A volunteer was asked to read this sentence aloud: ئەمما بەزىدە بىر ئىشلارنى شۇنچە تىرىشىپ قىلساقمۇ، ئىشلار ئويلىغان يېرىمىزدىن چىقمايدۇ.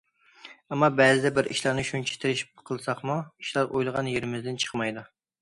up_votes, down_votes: 2, 0